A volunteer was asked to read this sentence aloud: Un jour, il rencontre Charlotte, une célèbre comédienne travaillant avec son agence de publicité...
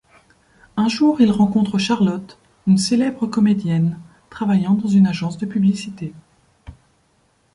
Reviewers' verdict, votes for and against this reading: rejected, 1, 2